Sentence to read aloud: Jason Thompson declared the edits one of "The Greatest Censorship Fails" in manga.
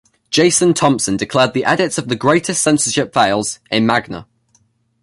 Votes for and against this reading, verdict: 1, 2, rejected